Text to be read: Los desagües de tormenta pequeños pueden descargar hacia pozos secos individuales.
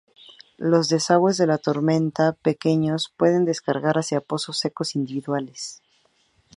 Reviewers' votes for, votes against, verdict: 4, 0, accepted